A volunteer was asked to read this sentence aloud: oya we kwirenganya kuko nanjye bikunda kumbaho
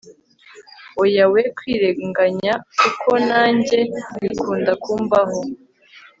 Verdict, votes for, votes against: accepted, 2, 0